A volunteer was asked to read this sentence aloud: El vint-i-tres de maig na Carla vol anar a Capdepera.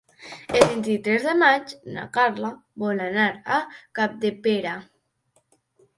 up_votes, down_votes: 0, 2